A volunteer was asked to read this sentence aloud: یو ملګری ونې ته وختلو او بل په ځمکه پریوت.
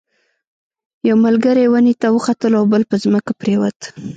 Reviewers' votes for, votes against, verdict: 1, 2, rejected